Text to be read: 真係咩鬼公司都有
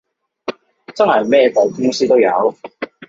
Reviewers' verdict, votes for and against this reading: rejected, 1, 2